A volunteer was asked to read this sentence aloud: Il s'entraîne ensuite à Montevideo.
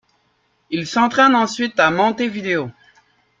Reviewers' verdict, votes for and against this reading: accepted, 2, 1